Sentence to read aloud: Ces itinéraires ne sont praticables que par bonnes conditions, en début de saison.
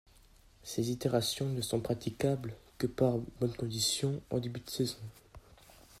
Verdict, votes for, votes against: rejected, 1, 2